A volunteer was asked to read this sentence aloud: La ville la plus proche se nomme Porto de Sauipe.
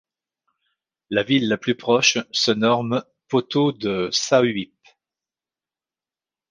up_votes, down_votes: 0, 2